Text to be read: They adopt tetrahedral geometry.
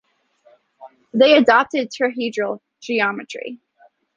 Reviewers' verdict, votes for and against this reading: rejected, 1, 2